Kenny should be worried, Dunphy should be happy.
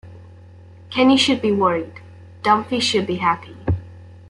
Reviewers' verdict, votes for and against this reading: accepted, 2, 0